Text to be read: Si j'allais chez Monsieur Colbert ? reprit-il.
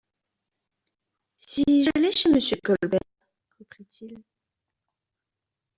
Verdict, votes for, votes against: rejected, 0, 2